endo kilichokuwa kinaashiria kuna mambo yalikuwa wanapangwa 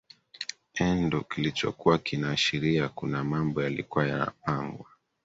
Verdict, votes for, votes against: accepted, 3, 2